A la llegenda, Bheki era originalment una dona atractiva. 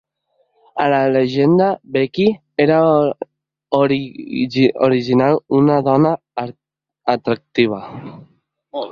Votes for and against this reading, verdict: 1, 2, rejected